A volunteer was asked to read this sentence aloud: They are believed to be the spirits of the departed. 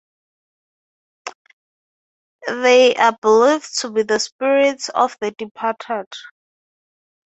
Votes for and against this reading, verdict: 6, 0, accepted